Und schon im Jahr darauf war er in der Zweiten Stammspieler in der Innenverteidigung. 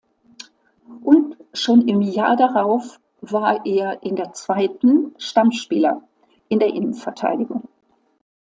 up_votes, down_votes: 2, 0